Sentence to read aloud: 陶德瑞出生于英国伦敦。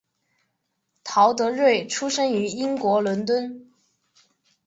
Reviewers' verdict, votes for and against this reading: accepted, 10, 0